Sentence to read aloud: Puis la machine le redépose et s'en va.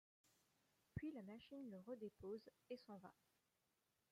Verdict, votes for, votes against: rejected, 1, 2